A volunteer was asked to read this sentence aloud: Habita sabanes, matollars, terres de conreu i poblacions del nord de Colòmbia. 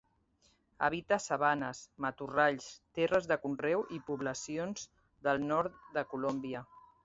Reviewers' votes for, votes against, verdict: 0, 3, rejected